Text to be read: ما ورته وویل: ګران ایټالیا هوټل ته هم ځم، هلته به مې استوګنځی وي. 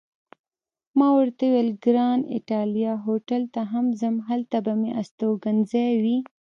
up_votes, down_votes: 1, 2